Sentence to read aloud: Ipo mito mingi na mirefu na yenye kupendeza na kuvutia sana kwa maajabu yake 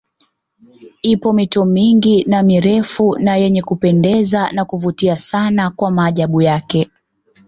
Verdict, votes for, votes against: accepted, 2, 1